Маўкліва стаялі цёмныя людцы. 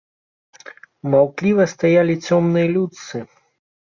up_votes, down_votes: 2, 0